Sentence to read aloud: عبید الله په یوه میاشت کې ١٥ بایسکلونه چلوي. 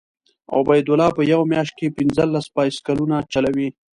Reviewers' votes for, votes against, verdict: 0, 2, rejected